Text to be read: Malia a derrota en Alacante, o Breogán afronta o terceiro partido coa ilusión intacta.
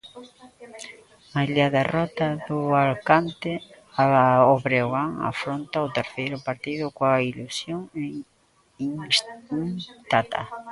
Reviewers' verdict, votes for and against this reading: rejected, 0, 2